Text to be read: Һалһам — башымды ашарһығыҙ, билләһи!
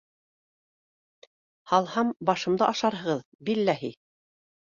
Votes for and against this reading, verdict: 2, 0, accepted